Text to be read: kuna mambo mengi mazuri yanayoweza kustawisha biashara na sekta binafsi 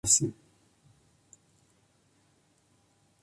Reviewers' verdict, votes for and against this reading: rejected, 0, 4